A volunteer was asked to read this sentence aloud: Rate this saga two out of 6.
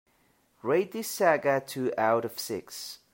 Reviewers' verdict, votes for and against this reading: rejected, 0, 2